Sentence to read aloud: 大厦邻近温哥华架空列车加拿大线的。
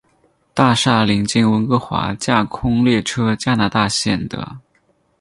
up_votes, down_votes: 2, 0